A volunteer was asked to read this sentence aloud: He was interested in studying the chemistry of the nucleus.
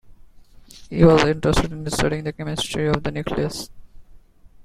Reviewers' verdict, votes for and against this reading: accepted, 2, 1